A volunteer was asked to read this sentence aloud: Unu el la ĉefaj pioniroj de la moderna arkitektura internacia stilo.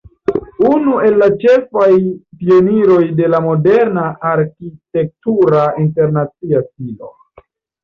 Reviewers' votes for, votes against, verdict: 0, 2, rejected